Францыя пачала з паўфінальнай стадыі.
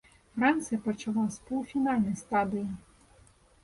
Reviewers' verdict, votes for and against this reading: rejected, 1, 2